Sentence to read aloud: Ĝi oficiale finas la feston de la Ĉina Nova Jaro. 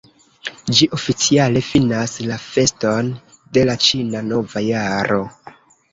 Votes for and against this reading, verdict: 0, 2, rejected